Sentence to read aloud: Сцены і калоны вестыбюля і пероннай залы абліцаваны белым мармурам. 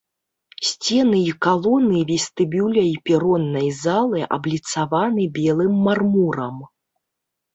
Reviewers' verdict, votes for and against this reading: accepted, 2, 0